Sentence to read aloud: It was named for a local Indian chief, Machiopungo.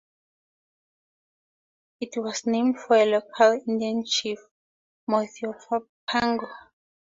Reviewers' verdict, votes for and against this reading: accepted, 4, 2